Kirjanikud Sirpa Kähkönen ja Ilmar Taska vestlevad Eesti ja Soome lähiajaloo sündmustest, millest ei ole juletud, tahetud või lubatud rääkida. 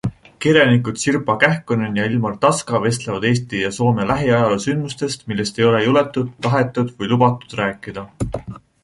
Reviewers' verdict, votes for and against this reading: accepted, 2, 0